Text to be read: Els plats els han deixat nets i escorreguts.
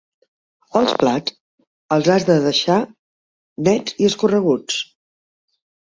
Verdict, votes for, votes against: rejected, 1, 2